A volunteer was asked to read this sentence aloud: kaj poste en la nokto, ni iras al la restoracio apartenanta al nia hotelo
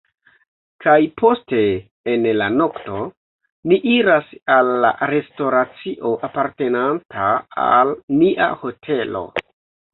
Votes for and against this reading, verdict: 0, 2, rejected